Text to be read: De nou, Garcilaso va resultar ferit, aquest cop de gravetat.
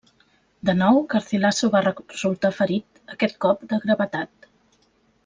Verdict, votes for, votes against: rejected, 0, 2